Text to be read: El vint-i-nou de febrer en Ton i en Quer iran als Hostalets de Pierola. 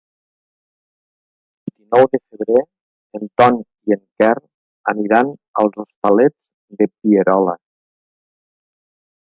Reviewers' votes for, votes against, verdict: 0, 2, rejected